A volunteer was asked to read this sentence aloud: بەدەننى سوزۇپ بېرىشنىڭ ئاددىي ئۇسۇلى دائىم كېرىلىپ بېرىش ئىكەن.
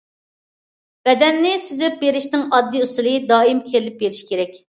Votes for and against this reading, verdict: 0, 2, rejected